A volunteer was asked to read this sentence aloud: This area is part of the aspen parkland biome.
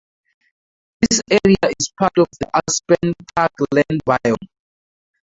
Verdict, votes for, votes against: rejected, 0, 2